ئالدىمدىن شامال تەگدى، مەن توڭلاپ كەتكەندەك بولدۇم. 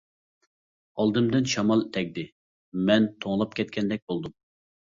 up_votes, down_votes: 2, 0